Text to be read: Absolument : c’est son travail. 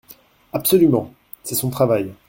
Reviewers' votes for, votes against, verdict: 2, 0, accepted